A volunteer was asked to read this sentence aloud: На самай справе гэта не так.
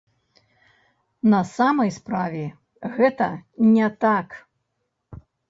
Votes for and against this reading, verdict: 1, 2, rejected